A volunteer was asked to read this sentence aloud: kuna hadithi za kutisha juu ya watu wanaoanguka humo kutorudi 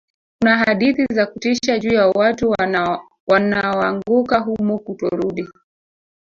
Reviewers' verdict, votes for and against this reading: rejected, 1, 2